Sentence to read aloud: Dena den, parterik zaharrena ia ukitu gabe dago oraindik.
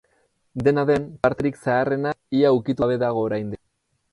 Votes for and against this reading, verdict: 0, 4, rejected